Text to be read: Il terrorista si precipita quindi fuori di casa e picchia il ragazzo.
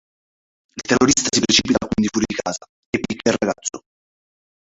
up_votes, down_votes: 0, 3